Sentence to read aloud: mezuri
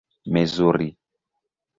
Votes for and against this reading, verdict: 1, 2, rejected